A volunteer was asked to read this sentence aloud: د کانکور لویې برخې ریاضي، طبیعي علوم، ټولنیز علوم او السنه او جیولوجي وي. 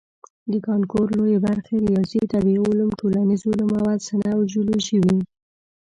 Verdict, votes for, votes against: rejected, 0, 2